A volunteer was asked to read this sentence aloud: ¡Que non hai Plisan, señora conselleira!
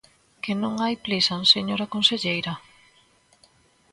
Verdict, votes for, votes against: accepted, 2, 0